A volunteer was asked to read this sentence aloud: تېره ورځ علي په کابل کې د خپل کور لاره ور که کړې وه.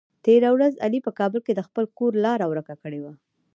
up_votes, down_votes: 2, 1